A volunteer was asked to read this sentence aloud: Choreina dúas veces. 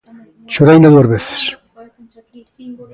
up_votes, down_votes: 1, 2